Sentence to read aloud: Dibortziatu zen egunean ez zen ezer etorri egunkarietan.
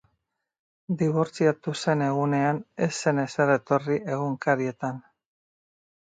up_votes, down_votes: 2, 0